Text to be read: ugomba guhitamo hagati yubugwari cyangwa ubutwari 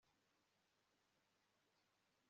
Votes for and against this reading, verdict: 1, 2, rejected